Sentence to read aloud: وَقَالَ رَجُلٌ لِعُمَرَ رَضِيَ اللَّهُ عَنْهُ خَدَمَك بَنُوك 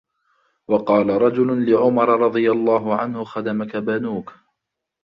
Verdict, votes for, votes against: accepted, 2, 0